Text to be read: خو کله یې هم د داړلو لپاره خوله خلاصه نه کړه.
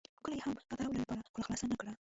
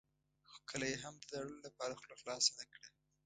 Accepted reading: second